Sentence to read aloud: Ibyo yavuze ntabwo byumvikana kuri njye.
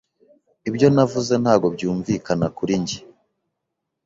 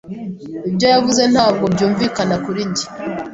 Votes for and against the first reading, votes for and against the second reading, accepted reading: 0, 2, 2, 0, second